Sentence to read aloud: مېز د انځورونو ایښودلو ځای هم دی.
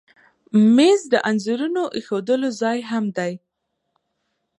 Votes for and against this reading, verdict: 3, 2, accepted